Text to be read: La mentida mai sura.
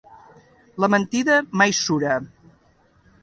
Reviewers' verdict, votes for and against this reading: accepted, 4, 0